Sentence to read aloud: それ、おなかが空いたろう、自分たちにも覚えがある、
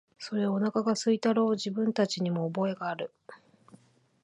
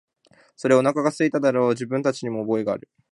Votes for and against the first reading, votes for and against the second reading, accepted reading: 2, 0, 0, 2, first